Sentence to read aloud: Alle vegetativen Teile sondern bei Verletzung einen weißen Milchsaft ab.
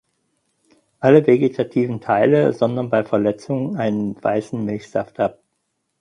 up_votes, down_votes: 4, 0